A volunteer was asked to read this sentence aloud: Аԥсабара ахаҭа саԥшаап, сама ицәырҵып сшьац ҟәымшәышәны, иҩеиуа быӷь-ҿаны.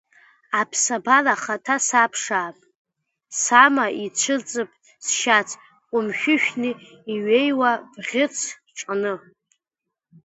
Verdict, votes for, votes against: rejected, 0, 2